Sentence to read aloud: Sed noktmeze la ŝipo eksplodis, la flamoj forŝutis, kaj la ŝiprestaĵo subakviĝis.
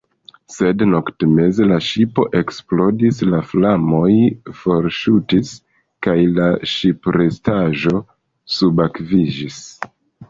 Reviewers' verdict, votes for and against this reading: rejected, 0, 2